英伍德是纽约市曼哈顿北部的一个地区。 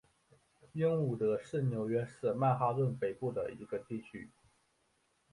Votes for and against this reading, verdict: 5, 0, accepted